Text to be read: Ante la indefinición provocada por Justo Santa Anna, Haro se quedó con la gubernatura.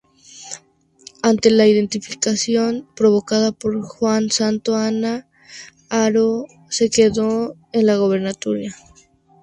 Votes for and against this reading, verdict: 0, 2, rejected